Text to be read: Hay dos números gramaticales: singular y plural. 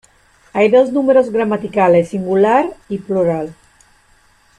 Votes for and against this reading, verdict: 2, 0, accepted